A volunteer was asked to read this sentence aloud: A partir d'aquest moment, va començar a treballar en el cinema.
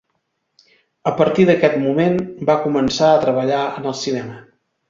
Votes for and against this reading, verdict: 2, 0, accepted